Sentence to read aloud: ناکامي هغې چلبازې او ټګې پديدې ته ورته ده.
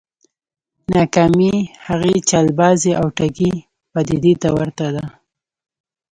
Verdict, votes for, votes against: rejected, 1, 2